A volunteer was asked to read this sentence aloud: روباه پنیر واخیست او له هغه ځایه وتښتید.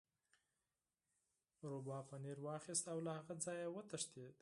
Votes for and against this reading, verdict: 0, 4, rejected